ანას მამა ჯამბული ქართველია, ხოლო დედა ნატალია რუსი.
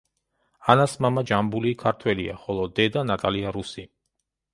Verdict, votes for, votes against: accepted, 2, 0